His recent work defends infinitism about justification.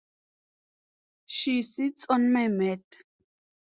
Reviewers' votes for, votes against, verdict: 0, 2, rejected